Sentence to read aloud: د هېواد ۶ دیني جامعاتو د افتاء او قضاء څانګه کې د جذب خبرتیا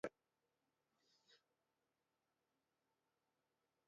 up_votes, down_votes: 0, 2